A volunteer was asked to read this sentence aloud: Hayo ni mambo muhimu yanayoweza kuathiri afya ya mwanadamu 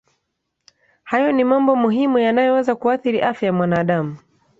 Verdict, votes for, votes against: accepted, 2, 0